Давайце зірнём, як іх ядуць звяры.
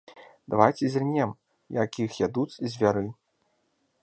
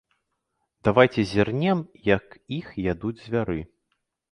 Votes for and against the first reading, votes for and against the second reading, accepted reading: 2, 1, 0, 2, first